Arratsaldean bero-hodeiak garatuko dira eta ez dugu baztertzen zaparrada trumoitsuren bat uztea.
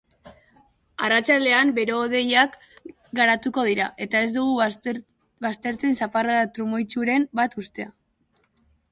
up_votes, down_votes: 0, 3